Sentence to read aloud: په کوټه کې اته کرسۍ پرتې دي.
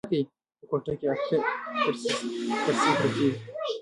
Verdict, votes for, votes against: rejected, 0, 2